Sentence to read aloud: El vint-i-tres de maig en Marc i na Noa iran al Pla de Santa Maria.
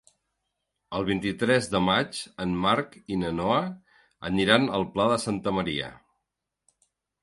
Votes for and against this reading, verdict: 0, 2, rejected